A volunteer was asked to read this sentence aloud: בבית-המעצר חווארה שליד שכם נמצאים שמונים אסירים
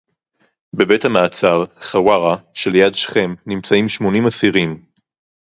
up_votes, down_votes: 2, 2